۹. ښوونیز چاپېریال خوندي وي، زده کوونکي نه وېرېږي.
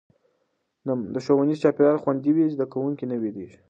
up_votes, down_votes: 0, 2